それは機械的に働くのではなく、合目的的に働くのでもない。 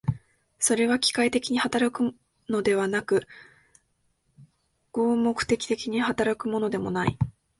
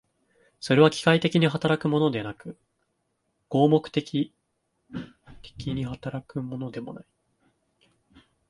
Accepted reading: first